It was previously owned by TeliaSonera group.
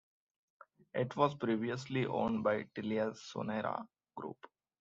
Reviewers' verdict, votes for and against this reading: accepted, 2, 0